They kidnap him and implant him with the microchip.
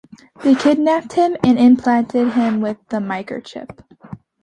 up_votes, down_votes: 0, 2